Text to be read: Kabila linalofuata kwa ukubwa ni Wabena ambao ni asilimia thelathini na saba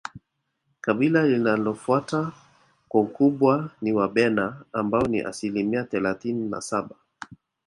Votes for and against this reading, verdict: 1, 2, rejected